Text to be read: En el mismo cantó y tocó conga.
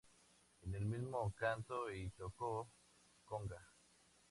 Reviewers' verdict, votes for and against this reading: accepted, 2, 0